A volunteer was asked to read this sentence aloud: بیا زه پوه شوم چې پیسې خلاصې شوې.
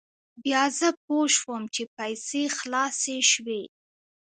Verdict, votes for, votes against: accepted, 2, 0